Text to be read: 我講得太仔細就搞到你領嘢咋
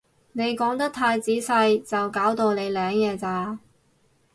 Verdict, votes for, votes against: rejected, 0, 2